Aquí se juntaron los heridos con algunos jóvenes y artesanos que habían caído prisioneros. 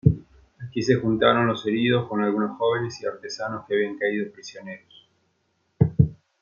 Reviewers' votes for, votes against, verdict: 2, 0, accepted